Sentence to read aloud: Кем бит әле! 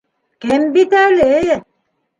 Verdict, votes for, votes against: accepted, 2, 1